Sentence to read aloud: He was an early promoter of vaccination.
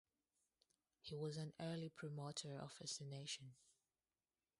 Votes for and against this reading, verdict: 0, 2, rejected